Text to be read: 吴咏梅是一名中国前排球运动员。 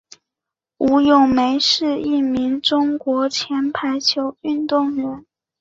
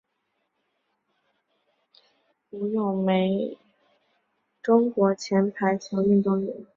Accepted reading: first